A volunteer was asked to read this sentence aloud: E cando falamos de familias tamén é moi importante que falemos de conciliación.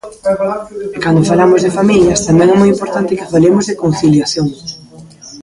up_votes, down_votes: 1, 2